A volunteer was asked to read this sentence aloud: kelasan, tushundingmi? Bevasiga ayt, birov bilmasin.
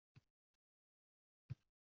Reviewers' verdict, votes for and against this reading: rejected, 0, 2